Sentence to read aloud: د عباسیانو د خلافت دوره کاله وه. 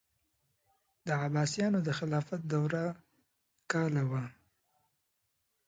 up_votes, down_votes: 2, 0